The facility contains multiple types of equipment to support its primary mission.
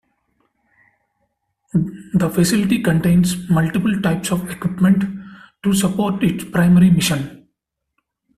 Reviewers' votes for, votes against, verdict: 2, 1, accepted